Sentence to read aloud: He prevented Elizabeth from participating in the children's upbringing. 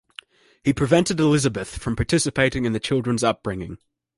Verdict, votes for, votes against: accepted, 2, 0